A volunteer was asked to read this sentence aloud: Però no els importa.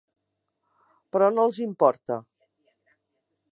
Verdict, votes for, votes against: accepted, 3, 0